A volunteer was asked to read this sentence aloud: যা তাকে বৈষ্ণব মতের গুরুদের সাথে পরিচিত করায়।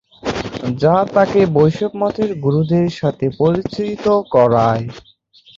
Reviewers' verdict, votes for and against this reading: rejected, 0, 2